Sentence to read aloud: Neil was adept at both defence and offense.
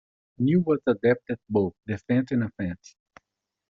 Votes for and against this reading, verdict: 2, 1, accepted